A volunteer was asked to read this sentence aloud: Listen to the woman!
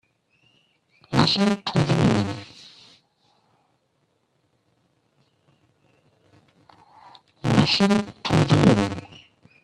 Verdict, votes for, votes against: rejected, 0, 2